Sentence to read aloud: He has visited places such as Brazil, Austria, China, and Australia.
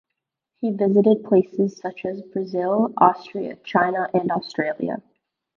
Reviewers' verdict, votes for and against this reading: rejected, 0, 2